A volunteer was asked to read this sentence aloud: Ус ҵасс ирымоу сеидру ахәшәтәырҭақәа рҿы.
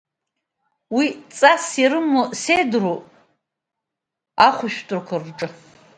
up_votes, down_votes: 1, 2